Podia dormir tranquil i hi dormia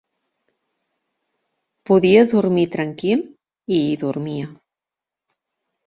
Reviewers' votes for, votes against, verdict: 2, 0, accepted